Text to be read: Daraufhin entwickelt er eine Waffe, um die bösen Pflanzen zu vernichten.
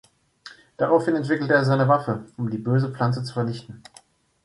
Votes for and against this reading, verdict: 0, 2, rejected